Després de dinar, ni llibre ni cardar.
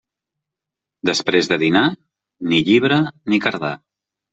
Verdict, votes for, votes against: accepted, 2, 0